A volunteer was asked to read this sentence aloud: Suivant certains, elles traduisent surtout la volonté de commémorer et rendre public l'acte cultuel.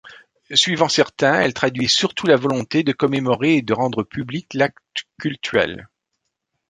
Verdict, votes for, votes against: rejected, 0, 2